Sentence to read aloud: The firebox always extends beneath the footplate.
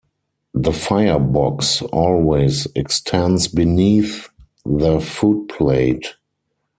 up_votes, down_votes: 4, 0